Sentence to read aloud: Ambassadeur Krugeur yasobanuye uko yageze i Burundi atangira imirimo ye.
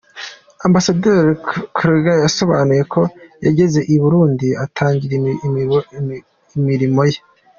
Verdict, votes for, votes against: rejected, 0, 2